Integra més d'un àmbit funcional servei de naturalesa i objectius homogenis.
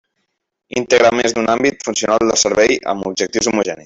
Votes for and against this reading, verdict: 0, 2, rejected